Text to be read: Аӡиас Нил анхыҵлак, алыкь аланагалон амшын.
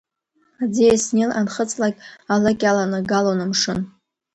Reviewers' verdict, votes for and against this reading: accepted, 2, 0